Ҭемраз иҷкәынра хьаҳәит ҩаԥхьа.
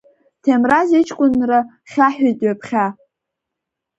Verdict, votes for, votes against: accepted, 2, 0